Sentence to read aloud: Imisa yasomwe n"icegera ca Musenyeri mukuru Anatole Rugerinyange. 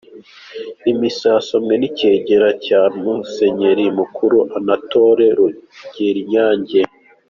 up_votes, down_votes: 2, 0